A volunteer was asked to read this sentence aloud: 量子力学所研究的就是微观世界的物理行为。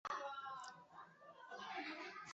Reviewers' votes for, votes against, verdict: 1, 4, rejected